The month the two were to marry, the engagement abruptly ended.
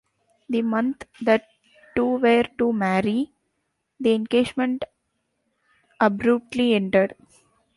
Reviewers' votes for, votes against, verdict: 1, 2, rejected